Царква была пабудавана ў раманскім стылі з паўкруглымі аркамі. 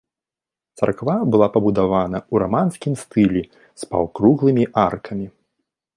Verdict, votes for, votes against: accepted, 2, 0